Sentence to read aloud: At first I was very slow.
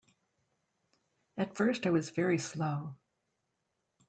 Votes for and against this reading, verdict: 2, 0, accepted